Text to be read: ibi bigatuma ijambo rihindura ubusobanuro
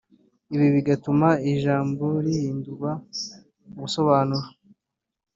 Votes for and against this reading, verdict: 2, 1, accepted